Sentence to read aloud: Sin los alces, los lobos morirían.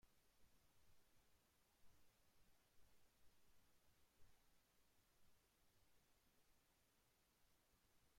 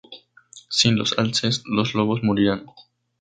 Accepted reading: second